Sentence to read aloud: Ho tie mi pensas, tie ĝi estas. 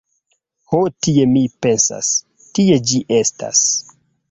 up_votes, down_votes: 2, 0